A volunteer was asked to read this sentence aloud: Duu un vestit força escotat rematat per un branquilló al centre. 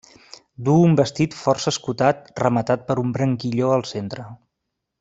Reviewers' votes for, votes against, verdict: 2, 0, accepted